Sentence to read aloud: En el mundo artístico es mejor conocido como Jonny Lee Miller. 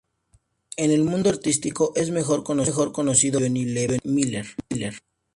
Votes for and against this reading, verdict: 0, 2, rejected